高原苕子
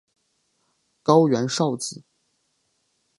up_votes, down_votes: 2, 0